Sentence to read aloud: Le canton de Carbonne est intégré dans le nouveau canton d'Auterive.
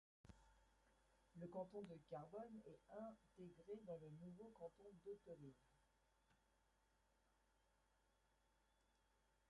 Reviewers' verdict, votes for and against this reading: rejected, 0, 2